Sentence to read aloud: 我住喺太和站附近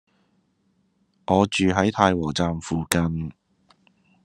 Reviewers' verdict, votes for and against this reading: accepted, 2, 0